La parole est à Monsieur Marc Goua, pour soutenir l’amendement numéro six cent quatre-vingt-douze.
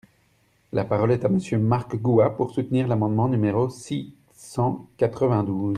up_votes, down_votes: 3, 0